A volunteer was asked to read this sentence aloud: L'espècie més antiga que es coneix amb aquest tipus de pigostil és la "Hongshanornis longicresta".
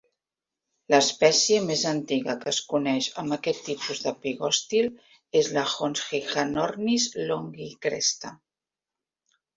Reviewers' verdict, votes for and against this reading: accepted, 2, 0